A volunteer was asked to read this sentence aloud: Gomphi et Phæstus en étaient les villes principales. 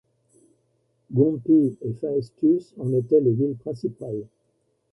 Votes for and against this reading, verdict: 0, 2, rejected